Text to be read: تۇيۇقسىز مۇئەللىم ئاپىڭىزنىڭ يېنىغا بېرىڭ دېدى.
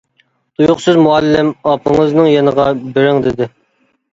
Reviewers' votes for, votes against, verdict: 2, 1, accepted